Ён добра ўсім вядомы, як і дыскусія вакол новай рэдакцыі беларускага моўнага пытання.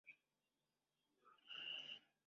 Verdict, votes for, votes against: rejected, 0, 2